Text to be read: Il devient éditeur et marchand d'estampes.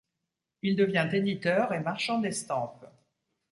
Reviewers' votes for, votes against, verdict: 2, 0, accepted